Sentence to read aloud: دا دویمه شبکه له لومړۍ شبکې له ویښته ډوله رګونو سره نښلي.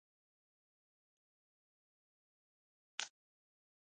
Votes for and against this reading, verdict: 0, 2, rejected